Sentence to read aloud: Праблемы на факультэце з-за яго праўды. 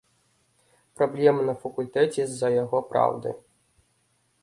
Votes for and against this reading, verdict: 2, 0, accepted